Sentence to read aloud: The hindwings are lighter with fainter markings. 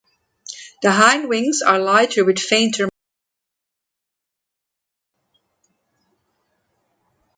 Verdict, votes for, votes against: rejected, 1, 2